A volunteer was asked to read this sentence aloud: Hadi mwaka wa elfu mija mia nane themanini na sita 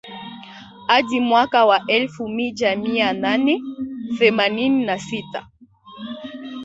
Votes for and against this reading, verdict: 1, 3, rejected